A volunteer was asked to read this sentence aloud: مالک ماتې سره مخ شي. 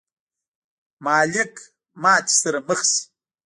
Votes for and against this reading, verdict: 2, 1, accepted